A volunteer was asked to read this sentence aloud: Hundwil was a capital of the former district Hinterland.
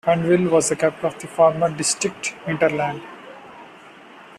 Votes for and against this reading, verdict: 2, 1, accepted